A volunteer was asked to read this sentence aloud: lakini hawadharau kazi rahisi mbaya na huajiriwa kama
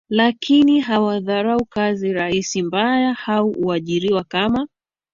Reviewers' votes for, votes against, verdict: 1, 2, rejected